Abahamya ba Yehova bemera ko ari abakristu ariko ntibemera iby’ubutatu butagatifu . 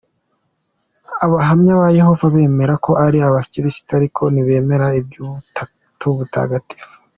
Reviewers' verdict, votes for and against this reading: accepted, 2, 0